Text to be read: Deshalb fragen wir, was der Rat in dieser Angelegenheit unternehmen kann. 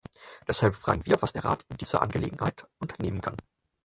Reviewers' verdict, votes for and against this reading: accepted, 4, 0